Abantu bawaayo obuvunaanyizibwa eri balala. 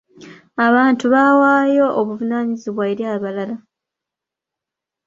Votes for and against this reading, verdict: 2, 1, accepted